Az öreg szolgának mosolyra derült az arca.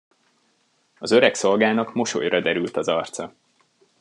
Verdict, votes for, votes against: accepted, 2, 1